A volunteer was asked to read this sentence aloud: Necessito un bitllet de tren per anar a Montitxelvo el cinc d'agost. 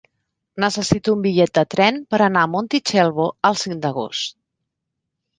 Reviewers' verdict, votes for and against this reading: accepted, 3, 0